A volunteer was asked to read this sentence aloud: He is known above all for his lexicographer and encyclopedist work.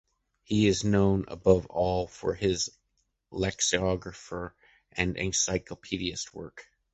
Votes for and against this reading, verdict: 0, 2, rejected